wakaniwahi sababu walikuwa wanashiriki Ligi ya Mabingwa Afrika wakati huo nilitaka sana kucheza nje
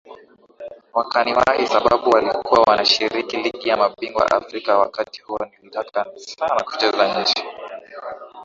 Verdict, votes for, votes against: accepted, 3, 0